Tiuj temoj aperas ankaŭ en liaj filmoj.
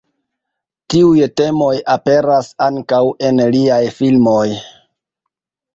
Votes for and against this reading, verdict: 0, 2, rejected